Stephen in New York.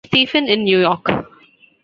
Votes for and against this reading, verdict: 2, 1, accepted